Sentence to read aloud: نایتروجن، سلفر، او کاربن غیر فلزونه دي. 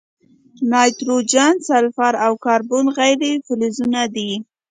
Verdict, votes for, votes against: accepted, 2, 0